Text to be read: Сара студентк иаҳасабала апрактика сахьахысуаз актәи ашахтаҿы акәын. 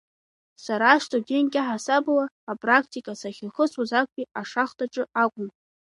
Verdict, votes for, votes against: accepted, 3, 1